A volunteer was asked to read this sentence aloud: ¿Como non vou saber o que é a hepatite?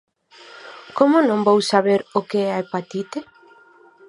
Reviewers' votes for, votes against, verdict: 4, 0, accepted